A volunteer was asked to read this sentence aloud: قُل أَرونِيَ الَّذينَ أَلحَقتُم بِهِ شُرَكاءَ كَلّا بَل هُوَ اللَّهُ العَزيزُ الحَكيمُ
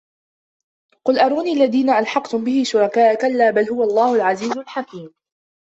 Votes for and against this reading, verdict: 1, 2, rejected